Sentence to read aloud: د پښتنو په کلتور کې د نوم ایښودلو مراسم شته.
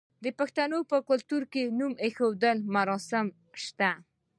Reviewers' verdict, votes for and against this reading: accepted, 2, 0